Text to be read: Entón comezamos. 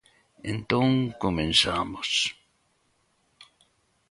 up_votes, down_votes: 0, 2